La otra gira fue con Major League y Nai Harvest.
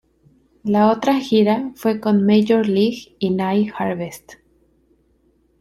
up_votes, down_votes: 2, 0